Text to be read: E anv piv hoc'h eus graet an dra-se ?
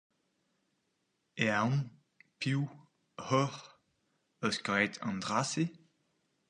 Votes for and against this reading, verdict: 0, 4, rejected